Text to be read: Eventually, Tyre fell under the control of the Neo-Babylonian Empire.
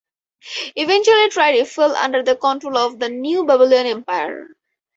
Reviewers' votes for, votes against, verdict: 2, 2, rejected